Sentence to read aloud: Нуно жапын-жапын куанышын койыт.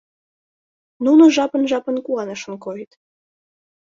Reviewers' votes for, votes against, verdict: 2, 0, accepted